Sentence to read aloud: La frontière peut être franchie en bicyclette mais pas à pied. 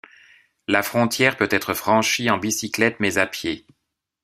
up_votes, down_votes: 0, 2